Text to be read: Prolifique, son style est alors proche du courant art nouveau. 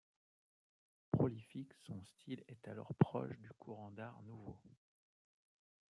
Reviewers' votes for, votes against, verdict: 0, 2, rejected